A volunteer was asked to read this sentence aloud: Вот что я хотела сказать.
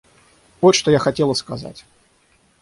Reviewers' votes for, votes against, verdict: 6, 0, accepted